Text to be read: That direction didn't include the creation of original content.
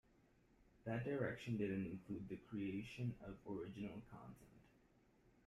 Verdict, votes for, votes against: accepted, 2, 1